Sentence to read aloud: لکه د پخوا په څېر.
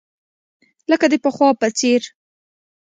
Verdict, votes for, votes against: accepted, 2, 0